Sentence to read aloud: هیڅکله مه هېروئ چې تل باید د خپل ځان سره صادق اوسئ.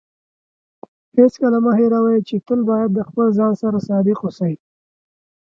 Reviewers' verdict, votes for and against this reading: accepted, 3, 0